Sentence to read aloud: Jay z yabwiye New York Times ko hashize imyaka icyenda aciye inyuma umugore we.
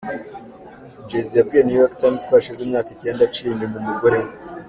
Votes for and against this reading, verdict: 2, 0, accepted